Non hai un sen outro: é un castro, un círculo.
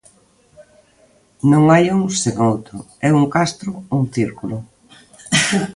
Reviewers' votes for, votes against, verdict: 2, 0, accepted